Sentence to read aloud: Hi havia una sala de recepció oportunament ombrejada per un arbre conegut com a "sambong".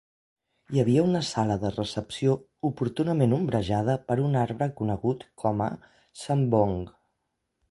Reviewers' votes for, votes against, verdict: 2, 0, accepted